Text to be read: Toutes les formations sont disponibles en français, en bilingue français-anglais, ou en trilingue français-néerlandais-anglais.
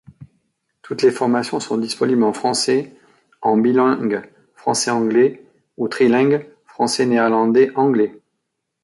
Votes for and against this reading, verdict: 1, 2, rejected